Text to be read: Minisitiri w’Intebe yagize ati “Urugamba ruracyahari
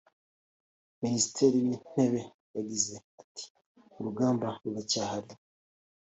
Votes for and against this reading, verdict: 2, 1, accepted